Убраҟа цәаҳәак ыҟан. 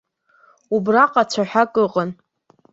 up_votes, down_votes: 2, 0